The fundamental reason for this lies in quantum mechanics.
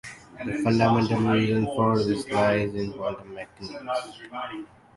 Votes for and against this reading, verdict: 1, 2, rejected